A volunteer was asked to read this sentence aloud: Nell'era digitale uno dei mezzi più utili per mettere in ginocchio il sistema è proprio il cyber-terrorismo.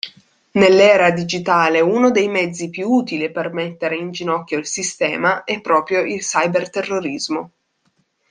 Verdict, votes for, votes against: accepted, 2, 0